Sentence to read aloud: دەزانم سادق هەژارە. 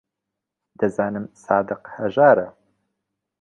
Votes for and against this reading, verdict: 2, 1, accepted